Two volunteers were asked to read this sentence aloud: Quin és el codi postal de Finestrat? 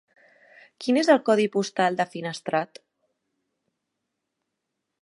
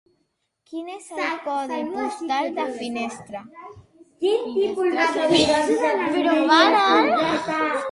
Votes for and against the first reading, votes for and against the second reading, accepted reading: 3, 1, 0, 4, first